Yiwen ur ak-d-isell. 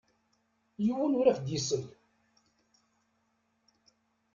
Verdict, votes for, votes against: rejected, 1, 2